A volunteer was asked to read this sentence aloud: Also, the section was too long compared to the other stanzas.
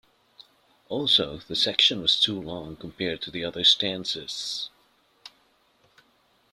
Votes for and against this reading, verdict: 2, 0, accepted